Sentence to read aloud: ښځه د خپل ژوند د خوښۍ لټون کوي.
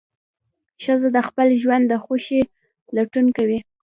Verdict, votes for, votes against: rejected, 0, 2